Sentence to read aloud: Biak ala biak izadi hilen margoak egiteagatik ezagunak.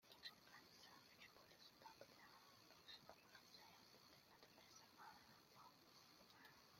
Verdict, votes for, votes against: rejected, 0, 2